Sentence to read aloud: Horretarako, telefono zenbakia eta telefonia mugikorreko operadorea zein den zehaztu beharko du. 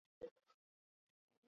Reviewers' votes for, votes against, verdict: 0, 4, rejected